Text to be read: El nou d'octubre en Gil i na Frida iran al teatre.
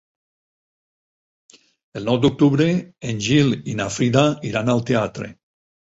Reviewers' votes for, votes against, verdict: 8, 0, accepted